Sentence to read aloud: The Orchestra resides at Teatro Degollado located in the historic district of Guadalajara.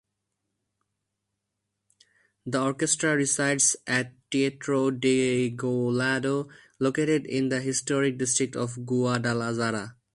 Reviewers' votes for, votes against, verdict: 0, 2, rejected